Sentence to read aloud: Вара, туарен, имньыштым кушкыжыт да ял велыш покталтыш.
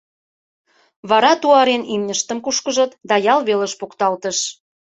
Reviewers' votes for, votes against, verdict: 2, 0, accepted